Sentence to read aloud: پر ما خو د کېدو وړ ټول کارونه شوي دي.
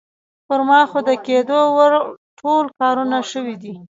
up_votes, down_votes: 2, 0